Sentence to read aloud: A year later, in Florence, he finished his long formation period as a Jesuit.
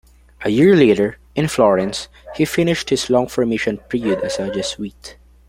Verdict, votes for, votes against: rejected, 0, 2